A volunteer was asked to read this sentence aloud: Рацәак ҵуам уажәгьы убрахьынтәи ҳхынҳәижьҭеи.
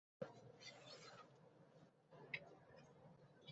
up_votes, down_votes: 0, 2